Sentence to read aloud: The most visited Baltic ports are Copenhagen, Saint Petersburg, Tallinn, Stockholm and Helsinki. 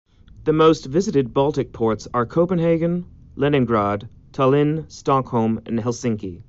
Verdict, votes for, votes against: rejected, 0, 2